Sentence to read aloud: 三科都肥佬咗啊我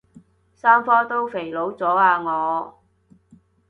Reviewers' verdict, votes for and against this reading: accepted, 2, 0